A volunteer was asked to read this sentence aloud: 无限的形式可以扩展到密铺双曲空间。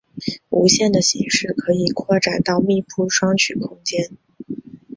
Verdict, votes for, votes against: accepted, 6, 1